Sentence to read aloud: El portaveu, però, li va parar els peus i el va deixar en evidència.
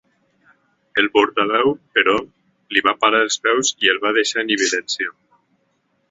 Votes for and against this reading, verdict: 2, 1, accepted